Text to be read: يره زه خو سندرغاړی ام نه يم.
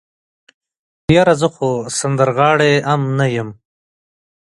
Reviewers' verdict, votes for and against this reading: accepted, 3, 1